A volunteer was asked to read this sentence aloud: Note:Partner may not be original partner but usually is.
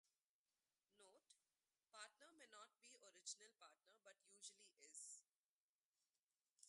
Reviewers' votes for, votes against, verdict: 0, 2, rejected